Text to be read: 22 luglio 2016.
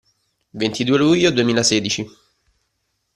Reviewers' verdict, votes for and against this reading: rejected, 0, 2